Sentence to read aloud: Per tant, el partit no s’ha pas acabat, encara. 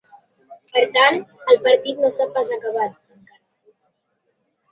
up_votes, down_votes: 0, 2